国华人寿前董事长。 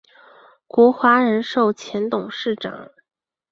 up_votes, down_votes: 2, 0